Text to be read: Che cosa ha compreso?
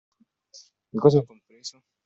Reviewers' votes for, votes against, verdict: 0, 2, rejected